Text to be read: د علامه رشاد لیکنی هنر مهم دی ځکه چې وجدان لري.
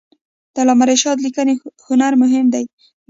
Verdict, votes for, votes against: accepted, 2, 0